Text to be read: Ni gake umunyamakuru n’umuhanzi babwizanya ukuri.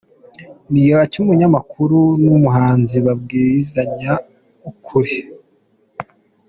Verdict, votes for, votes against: rejected, 2, 3